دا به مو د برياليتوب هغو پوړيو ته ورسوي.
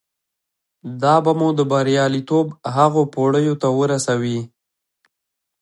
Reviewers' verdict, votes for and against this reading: accepted, 2, 0